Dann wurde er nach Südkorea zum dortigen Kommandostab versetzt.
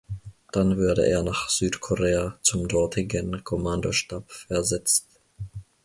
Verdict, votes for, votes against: rejected, 0, 2